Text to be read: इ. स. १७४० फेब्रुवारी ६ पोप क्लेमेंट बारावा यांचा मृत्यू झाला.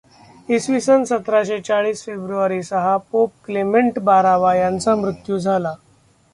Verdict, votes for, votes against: rejected, 0, 2